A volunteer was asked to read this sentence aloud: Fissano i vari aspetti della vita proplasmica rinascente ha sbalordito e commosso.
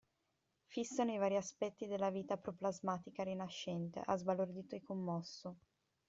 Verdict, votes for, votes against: accepted, 2, 0